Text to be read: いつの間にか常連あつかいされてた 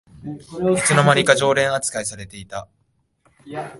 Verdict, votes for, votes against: rejected, 1, 2